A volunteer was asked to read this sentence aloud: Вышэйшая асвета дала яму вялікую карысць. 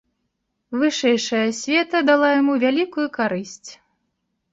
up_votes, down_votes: 2, 0